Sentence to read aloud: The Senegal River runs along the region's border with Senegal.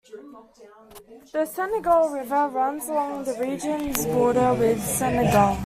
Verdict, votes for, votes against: rejected, 0, 2